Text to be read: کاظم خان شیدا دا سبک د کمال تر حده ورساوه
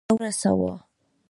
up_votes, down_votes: 1, 2